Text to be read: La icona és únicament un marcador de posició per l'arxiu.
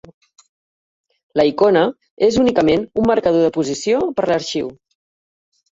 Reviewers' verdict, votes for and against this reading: rejected, 0, 2